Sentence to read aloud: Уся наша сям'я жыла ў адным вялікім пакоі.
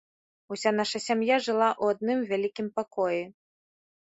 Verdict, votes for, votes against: accepted, 2, 0